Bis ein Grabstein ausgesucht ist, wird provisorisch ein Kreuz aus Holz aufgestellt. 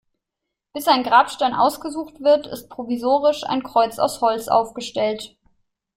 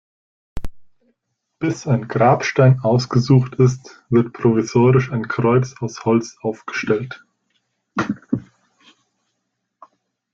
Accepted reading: second